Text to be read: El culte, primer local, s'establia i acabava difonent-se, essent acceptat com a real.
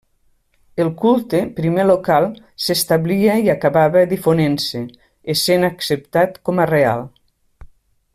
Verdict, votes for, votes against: accepted, 3, 0